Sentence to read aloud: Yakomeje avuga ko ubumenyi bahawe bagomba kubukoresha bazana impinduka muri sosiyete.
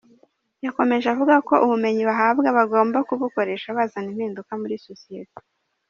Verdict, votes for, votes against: accepted, 2, 0